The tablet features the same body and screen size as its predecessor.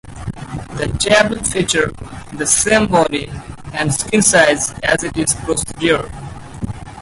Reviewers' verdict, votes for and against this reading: rejected, 0, 4